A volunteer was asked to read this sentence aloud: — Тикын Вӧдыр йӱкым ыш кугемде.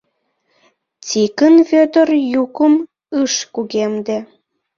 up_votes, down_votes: 1, 2